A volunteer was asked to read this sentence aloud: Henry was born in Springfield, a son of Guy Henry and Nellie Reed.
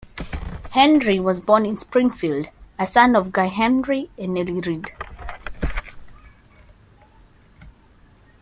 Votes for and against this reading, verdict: 2, 0, accepted